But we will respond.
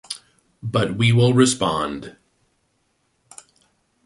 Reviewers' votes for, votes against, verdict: 2, 0, accepted